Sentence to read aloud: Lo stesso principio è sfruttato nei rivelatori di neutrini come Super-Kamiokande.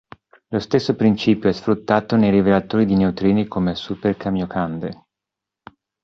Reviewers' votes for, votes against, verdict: 2, 0, accepted